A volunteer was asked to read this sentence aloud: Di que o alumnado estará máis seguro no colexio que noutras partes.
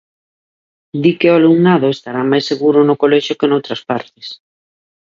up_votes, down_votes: 2, 0